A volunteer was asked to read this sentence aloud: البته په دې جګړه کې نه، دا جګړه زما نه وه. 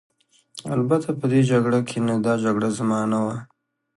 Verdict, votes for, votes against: accepted, 2, 0